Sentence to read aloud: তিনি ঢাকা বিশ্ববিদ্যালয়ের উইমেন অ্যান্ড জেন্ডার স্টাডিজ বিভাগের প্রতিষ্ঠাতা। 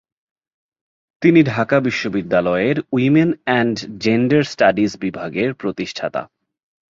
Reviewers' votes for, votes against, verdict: 4, 0, accepted